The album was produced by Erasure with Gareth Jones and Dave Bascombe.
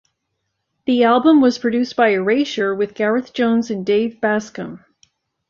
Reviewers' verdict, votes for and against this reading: accepted, 2, 0